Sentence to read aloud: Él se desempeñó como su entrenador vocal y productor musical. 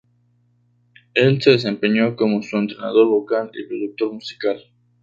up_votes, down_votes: 2, 0